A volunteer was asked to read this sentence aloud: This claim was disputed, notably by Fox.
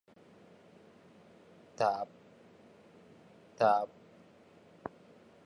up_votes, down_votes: 0, 2